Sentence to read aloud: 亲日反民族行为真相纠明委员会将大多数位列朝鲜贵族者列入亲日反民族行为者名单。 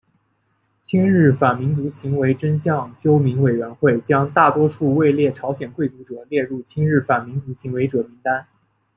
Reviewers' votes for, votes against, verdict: 2, 0, accepted